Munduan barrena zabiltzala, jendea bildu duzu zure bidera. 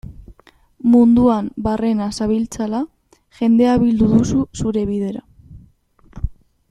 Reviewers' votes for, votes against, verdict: 1, 2, rejected